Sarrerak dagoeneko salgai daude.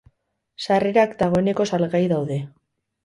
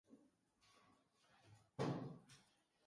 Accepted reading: first